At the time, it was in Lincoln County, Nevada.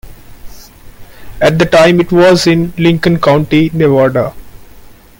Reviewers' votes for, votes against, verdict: 2, 0, accepted